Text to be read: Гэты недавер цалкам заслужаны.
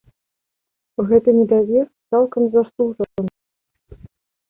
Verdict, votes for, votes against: rejected, 0, 2